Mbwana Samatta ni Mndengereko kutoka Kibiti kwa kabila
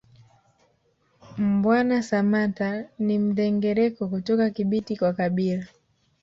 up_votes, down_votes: 2, 0